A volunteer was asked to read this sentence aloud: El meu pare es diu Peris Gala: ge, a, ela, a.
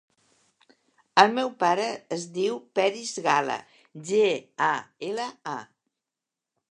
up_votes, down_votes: 2, 0